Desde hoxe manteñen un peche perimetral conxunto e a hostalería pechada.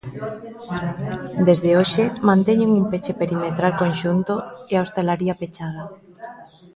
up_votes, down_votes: 2, 0